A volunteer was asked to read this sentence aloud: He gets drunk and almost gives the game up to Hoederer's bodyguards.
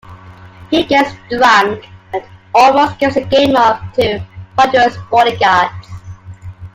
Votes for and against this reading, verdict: 1, 2, rejected